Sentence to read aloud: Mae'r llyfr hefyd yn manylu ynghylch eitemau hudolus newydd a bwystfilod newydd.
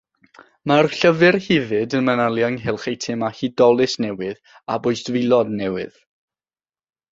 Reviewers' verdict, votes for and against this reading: accepted, 6, 0